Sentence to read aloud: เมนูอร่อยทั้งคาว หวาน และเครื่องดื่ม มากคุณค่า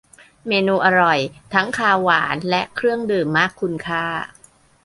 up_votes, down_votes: 2, 0